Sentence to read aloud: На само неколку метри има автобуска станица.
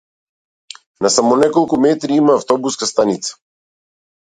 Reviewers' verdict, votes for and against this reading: accepted, 2, 0